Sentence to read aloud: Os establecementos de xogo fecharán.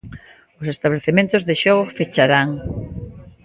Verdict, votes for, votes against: accepted, 2, 0